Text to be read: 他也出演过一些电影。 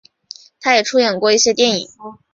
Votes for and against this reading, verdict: 2, 0, accepted